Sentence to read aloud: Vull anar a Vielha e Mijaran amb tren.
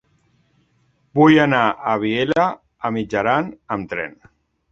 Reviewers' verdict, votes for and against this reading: rejected, 1, 2